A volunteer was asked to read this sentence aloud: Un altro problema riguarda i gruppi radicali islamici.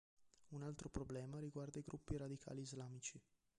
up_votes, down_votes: 1, 3